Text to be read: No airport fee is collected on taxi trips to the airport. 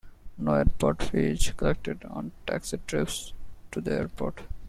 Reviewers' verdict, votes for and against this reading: rejected, 0, 2